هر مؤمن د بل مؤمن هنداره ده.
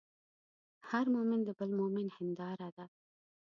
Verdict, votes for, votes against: accepted, 2, 0